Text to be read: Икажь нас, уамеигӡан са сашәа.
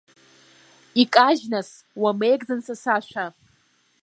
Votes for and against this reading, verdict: 0, 2, rejected